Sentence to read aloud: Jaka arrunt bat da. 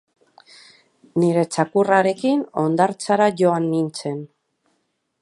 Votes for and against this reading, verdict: 0, 2, rejected